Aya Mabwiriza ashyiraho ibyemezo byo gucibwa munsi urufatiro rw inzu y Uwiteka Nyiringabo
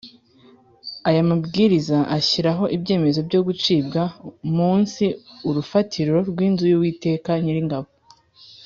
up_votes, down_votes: 2, 0